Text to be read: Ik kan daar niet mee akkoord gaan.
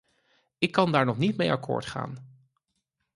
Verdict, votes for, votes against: rejected, 0, 4